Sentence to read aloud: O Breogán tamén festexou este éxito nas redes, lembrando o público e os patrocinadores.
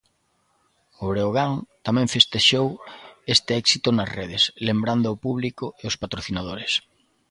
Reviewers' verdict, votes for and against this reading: accepted, 2, 0